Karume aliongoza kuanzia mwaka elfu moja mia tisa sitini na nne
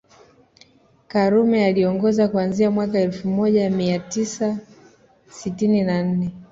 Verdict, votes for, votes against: accepted, 2, 0